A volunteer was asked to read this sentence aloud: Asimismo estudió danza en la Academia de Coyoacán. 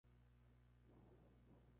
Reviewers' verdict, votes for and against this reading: rejected, 0, 2